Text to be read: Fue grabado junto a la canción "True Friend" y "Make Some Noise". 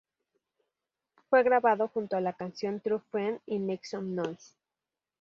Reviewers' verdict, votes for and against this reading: accepted, 4, 0